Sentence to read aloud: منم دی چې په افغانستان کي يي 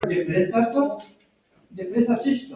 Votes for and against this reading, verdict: 2, 1, accepted